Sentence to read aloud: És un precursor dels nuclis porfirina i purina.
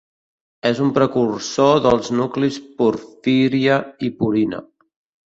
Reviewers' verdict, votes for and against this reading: rejected, 0, 2